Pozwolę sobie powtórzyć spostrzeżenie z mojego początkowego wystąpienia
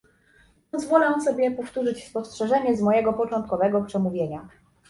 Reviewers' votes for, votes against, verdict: 1, 2, rejected